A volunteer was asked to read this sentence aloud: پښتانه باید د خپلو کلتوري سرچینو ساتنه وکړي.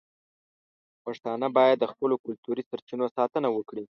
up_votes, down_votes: 2, 0